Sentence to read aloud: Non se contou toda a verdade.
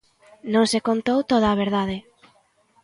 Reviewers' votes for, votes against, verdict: 3, 0, accepted